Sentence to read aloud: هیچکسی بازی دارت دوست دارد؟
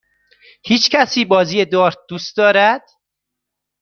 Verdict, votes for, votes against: accepted, 2, 0